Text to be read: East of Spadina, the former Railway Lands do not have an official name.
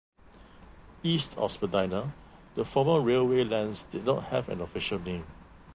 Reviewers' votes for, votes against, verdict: 2, 1, accepted